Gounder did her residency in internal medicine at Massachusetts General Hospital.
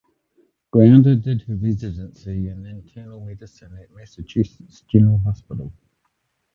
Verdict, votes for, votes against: rejected, 2, 4